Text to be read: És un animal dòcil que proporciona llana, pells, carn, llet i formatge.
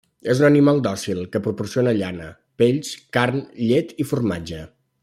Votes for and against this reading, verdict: 2, 0, accepted